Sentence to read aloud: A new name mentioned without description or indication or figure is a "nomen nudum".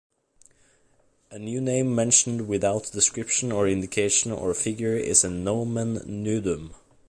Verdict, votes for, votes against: accepted, 3, 0